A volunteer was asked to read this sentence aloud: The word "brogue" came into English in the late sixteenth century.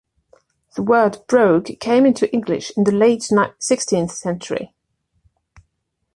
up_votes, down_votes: 1, 2